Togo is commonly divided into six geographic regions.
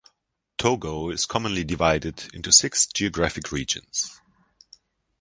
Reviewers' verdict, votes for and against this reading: accepted, 2, 0